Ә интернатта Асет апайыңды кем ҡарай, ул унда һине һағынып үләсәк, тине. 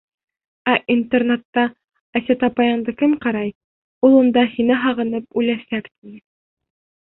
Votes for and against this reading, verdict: 1, 2, rejected